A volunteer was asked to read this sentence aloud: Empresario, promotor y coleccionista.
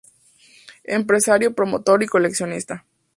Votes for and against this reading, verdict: 2, 0, accepted